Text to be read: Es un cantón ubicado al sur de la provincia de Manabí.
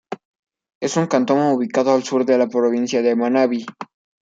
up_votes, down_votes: 1, 2